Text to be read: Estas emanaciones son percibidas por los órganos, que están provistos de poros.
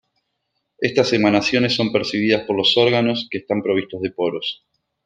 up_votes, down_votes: 2, 0